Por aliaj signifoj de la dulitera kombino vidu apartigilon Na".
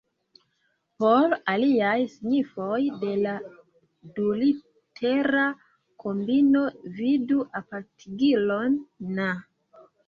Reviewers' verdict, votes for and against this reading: rejected, 1, 3